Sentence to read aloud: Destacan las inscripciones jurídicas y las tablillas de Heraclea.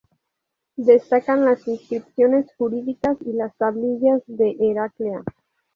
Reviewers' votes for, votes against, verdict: 2, 0, accepted